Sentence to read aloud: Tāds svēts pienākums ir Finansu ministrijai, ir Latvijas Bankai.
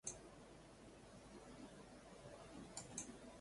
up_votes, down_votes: 0, 2